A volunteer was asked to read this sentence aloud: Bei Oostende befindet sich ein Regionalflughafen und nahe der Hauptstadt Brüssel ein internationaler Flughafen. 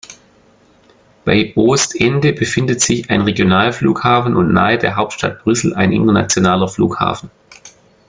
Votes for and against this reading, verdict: 2, 1, accepted